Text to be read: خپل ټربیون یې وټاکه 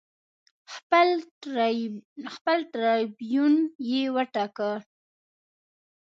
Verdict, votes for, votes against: rejected, 0, 2